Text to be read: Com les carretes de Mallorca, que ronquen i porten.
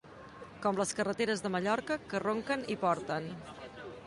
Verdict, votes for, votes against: rejected, 1, 2